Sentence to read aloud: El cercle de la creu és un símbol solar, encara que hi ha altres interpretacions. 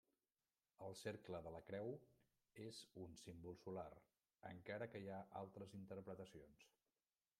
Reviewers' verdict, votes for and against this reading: rejected, 0, 2